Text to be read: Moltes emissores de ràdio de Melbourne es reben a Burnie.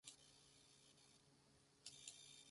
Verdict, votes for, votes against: rejected, 0, 4